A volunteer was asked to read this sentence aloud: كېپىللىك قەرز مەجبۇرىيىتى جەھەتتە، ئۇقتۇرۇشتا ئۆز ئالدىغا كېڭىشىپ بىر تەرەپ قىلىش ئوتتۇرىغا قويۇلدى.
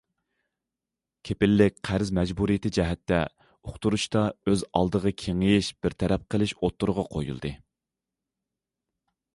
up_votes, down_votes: 0, 2